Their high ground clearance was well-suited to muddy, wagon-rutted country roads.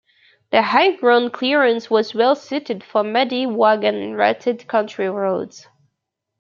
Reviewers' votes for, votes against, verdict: 0, 2, rejected